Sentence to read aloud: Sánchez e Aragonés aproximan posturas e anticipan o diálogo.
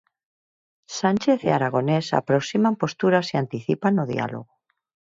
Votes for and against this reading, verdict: 4, 0, accepted